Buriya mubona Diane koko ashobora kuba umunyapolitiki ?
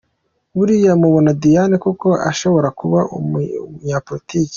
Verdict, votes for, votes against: rejected, 1, 2